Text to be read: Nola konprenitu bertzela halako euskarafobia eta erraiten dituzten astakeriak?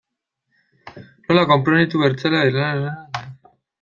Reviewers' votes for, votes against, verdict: 0, 2, rejected